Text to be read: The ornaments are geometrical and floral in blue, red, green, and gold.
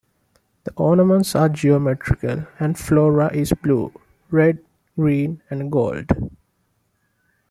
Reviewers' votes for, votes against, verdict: 1, 2, rejected